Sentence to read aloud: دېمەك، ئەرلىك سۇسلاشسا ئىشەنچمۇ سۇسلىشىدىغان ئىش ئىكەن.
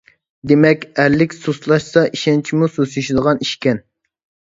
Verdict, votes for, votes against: rejected, 1, 2